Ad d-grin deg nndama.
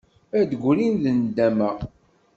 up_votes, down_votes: 2, 0